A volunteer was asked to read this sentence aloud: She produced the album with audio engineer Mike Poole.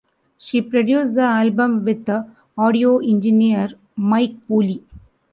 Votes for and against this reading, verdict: 0, 2, rejected